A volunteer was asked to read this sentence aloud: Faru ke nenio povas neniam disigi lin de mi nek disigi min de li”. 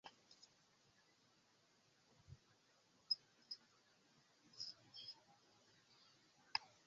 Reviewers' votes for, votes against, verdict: 0, 2, rejected